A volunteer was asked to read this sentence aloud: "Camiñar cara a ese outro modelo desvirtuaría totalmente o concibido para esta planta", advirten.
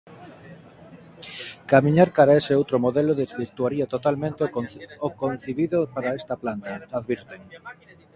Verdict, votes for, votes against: rejected, 0, 2